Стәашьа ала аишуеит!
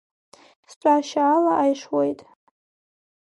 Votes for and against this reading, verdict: 2, 1, accepted